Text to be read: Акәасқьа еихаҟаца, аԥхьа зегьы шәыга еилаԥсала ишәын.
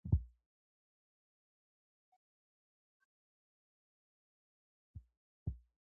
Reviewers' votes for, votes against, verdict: 1, 2, rejected